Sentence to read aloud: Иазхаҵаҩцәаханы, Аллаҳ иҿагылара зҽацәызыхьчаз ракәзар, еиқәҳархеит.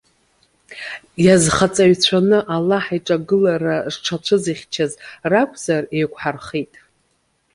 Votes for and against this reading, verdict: 1, 2, rejected